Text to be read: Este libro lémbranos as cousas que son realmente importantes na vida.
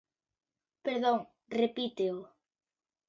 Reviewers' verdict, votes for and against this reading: rejected, 0, 2